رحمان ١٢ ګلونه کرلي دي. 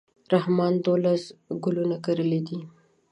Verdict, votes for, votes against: rejected, 0, 2